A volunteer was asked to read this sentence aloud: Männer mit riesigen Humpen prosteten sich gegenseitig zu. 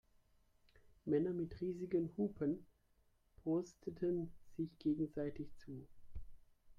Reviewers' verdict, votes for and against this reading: rejected, 1, 2